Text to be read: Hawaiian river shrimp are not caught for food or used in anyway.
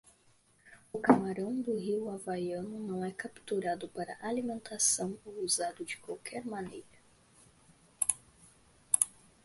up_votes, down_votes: 0, 2